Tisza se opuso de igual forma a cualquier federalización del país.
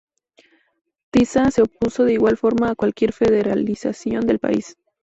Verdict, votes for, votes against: rejected, 2, 2